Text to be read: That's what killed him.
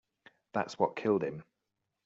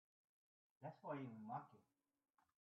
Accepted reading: first